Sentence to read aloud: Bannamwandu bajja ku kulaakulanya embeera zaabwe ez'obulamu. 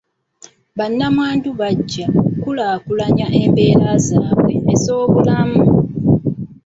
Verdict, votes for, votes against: rejected, 1, 2